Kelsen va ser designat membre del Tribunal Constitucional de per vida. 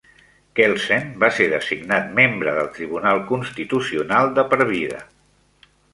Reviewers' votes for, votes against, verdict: 2, 0, accepted